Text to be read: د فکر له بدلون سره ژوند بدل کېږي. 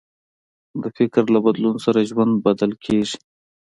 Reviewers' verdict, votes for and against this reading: accepted, 2, 0